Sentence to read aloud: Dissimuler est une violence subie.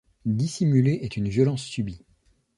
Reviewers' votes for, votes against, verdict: 2, 0, accepted